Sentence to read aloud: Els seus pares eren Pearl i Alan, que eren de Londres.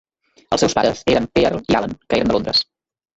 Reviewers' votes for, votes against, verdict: 0, 3, rejected